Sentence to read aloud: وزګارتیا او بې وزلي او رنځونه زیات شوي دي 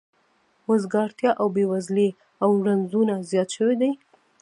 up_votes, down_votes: 0, 2